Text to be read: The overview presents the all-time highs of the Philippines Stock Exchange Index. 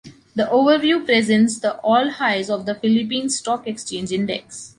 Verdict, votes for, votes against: rejected, 0, 2